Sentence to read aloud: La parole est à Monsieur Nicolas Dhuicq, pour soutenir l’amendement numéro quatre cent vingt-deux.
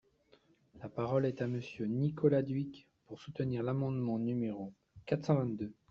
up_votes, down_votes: 2, 1